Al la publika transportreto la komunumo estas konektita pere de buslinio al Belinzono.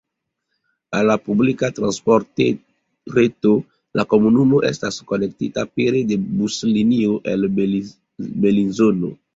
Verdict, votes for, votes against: rejected, 1, 2